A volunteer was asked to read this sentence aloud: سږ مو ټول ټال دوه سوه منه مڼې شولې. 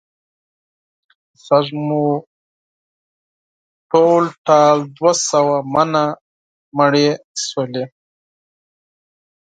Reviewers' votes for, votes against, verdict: 4, 0, accepted